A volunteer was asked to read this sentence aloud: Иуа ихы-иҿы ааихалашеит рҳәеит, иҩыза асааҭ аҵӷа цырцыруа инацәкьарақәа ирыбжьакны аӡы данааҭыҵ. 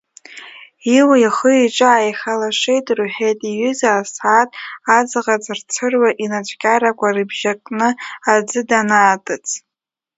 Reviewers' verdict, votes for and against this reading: accepted, 2, 1